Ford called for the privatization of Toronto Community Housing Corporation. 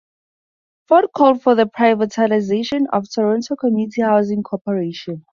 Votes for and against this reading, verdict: 0, 2, rejected